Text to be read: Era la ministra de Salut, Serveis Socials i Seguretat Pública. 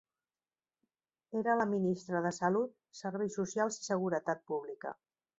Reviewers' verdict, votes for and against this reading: accepted, 2, 0